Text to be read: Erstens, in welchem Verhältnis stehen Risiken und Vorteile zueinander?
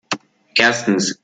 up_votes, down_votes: 0, 2